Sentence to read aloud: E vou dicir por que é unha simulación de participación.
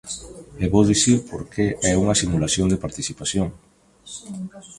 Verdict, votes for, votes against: rejected, 1, 2